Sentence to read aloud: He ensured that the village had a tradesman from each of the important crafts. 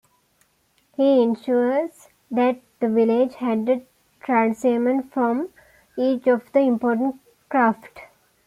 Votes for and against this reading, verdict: 0, 2, rejected